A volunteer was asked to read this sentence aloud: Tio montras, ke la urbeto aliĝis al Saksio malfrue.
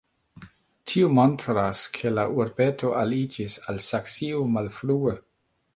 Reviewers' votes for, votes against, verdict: 1, 2, rejected